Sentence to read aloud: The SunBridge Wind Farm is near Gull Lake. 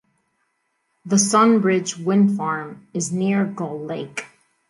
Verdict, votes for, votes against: accepted, 2, 0